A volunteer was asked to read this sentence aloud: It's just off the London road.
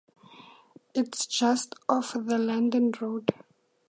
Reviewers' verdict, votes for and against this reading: accepted, 4, 0